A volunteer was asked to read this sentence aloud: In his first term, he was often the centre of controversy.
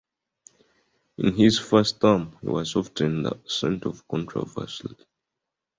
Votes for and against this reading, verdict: 2, 1, accepted